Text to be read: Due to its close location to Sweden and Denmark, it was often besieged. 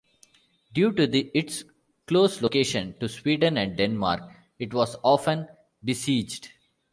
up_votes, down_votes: 1, 2